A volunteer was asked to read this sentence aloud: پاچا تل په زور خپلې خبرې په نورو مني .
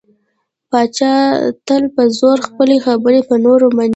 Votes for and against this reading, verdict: 2, 0, accepted